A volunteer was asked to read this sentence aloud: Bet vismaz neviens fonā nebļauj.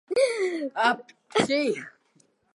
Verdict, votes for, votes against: rejected, 0, 2